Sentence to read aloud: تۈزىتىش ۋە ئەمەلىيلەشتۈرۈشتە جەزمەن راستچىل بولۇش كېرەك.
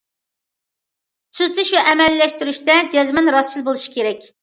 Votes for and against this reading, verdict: 2, 0, accepted